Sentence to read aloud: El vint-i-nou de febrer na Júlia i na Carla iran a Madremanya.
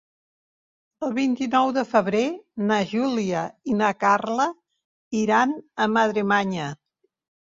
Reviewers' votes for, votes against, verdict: 3, 0, accepted